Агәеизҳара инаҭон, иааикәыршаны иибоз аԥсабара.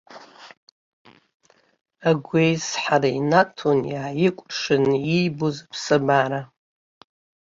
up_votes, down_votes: 2, 0